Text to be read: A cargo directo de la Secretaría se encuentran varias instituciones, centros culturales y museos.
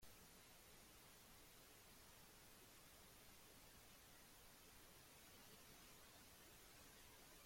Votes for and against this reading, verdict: 0, 2, rejected